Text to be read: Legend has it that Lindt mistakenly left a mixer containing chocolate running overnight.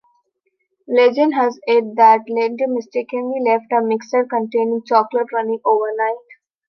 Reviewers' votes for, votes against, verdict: 2, 1, accepted